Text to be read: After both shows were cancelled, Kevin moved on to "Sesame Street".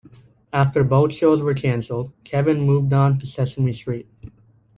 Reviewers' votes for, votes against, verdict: 1, 2, rejected